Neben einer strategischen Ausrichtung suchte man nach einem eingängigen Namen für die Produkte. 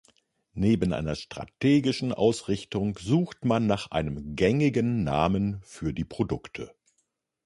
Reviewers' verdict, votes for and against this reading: rejected, 1, 2